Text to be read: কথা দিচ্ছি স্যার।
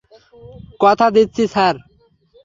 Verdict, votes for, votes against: accepted, 3, 0